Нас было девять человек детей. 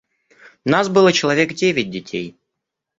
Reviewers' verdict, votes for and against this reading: rejected, 1, 2